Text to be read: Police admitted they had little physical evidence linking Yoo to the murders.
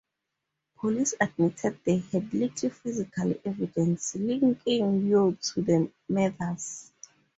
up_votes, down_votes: 2, 0